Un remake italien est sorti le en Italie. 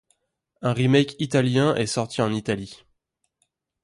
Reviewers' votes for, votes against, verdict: 0, 2, rejected